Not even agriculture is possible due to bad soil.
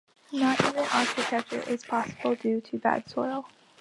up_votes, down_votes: 0, 2